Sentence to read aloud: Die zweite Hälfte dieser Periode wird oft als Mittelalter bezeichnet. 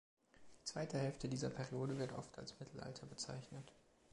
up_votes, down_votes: 2, 0